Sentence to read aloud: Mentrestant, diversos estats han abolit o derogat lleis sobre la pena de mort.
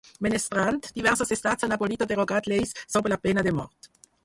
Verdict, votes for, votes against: rejected, 2, 4